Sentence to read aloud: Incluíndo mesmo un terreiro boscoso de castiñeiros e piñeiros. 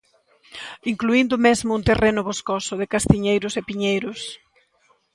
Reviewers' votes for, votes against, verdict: 0, 2, rejected